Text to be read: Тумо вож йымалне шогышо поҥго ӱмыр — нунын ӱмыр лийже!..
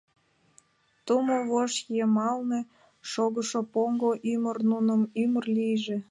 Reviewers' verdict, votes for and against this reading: rejected, 1, 2